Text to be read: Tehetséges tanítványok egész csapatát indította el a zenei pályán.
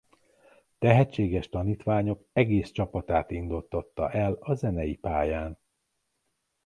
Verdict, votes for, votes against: rejected, 0, 2